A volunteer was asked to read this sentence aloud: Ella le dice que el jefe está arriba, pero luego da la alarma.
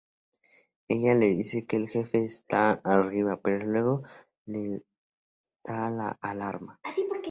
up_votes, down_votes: 0, 2